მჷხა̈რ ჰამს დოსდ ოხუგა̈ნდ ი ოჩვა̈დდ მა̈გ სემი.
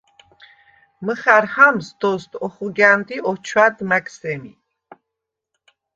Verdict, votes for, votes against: rejected, 0, 2